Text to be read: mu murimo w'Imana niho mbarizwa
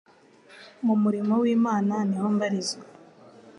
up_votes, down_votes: 2, 0